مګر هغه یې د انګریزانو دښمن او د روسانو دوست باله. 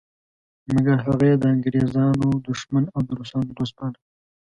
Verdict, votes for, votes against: accepted, 2, 0